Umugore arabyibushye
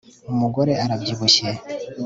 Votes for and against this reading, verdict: 3, 0, accepted